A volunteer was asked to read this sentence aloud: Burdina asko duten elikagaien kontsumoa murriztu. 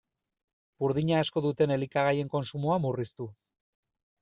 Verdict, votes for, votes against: accepted, 2, 0